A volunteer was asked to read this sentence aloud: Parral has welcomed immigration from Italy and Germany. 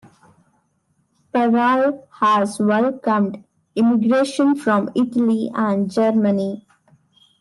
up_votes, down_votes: 2, 1